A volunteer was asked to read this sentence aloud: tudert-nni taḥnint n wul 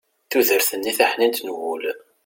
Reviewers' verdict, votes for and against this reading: accepted, 2, 0